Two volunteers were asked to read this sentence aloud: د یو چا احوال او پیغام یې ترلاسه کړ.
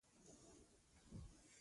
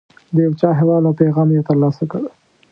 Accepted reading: second